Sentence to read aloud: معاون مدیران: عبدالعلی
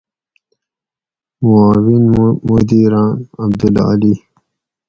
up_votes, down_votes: 2, 2